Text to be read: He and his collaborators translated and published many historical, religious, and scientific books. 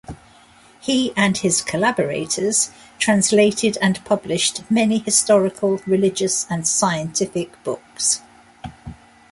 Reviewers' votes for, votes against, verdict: 2, 1, accepted